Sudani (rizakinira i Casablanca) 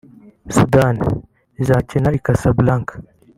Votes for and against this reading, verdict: 1, 4, rejected